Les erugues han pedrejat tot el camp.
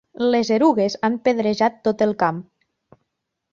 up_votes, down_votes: 2, 0